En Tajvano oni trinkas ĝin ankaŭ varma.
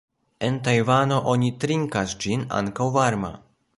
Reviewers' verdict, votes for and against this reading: rejected, 1, 2